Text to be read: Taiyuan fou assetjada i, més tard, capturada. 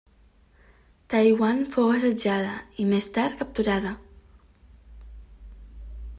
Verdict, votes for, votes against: accepted, 2, 0